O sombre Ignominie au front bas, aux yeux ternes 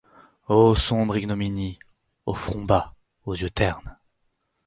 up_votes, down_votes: 0, 4